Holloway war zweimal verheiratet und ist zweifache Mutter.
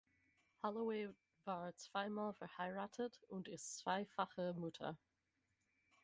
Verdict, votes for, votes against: accepted, 6, 0